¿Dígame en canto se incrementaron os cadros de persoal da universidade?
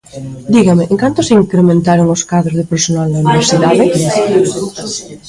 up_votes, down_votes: 0, 2